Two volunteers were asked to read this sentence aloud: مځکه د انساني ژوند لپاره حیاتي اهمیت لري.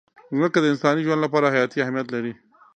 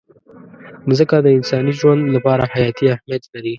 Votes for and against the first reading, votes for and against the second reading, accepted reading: 2, 1, 1, 2, first